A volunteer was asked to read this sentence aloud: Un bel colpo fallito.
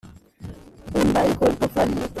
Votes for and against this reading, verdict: 0, 2, rejected